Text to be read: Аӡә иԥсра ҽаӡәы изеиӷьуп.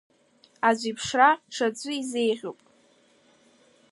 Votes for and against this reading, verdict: 2, 1, accepted